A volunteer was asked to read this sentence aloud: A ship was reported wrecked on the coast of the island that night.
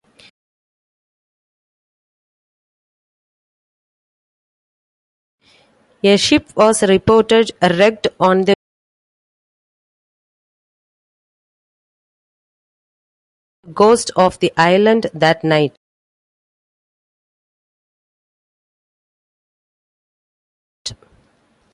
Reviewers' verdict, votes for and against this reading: rejected, 0, 2